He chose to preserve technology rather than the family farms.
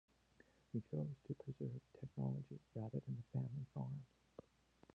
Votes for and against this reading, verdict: 1, 2, rejected